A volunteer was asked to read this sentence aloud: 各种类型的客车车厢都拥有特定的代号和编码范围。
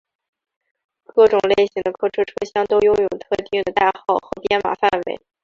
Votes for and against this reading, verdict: 3, 1, accepted